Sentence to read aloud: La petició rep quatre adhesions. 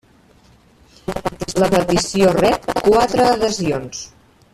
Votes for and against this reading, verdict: 1, 2, rejected